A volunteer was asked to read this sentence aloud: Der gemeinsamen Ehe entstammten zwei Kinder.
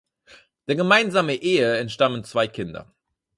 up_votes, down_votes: 0, 4